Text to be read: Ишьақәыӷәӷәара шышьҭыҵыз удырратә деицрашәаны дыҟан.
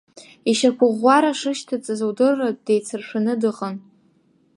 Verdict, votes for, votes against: rejected, 1, 2